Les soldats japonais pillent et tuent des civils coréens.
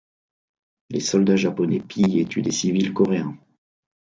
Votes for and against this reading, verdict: 2, 0, accepted